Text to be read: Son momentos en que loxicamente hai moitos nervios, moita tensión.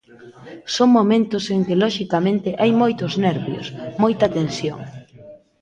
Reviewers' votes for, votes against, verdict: 2, 0, accepted